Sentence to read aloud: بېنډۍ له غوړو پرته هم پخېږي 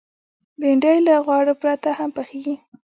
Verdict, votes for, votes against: rejected, 0, 2